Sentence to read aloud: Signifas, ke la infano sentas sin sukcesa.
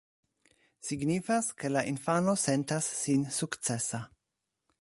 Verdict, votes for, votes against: accepted, 2, 0